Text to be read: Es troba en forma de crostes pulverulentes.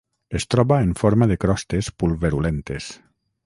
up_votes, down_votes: 6, 0